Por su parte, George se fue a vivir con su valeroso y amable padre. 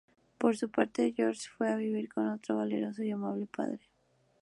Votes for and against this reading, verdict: 2, 0, accepted